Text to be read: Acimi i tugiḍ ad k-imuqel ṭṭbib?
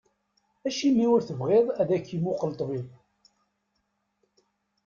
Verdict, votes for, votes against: rejected, 1, 2